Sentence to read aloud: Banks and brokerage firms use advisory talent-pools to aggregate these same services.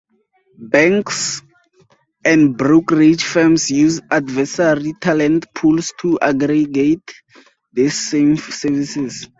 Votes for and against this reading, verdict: 2, 2, rejected